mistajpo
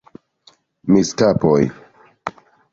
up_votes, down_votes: 0, 2